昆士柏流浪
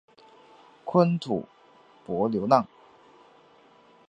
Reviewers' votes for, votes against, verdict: 1, 3, rejected